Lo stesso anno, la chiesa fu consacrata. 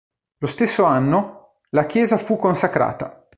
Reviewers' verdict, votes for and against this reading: accepted, 2, 0